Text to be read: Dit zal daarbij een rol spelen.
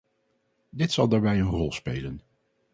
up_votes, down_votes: 4, 0